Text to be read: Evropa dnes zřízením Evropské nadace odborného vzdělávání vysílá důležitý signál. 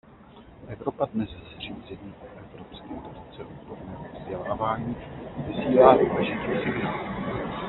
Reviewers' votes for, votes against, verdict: 0, 2, rejected